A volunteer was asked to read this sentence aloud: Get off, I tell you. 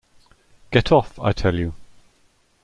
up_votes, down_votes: 2, 0